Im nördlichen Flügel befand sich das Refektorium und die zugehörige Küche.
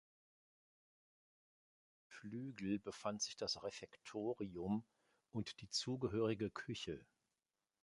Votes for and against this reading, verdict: 0, 2, rejected